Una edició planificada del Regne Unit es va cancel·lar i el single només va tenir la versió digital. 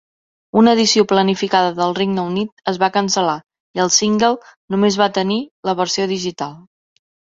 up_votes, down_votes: 4, 0